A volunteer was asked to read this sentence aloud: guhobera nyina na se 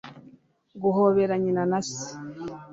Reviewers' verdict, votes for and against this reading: accepted, 3, 0